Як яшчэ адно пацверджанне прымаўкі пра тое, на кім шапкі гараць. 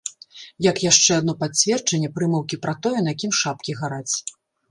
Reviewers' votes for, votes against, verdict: 2, 0, accepted